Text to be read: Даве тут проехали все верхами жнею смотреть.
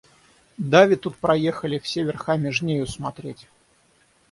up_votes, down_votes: 6, 0